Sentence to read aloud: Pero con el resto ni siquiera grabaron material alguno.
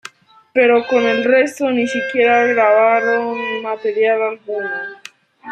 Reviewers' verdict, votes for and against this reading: accepted, 2, 1